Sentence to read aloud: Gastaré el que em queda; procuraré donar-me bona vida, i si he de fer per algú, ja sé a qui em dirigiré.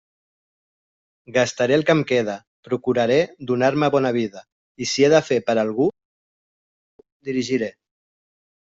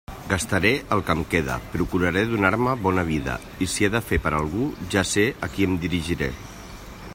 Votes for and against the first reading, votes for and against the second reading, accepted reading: 0, 2, 3, 0, second